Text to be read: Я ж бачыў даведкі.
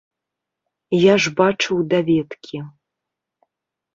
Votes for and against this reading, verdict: 2, 0, accepted